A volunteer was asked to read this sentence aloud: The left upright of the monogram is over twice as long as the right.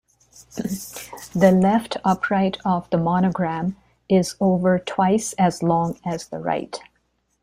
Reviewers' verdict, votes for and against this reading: accepted, 2, 0